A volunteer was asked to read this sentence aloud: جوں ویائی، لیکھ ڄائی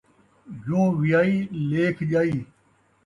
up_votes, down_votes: 2, 1